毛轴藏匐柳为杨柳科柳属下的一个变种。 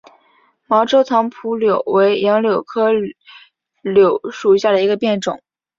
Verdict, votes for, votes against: accepted, 5, 0